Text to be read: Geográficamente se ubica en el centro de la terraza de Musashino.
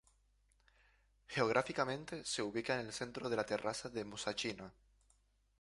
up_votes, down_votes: 0, 2